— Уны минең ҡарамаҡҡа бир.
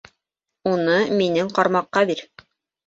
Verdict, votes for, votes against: rejected, 0, 2